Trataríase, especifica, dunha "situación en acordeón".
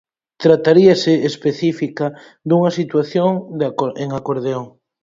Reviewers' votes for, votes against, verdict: 0, 4, rejected